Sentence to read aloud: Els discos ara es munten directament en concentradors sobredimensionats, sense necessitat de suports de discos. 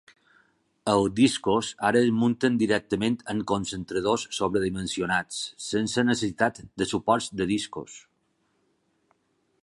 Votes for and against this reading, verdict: 0, 2, rejected